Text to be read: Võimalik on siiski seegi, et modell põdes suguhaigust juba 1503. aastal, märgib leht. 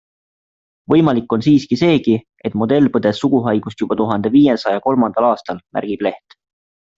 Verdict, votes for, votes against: rejected, 0, 2